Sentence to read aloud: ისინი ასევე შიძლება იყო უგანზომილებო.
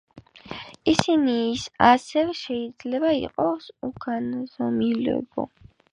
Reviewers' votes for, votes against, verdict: 2, 5, rejected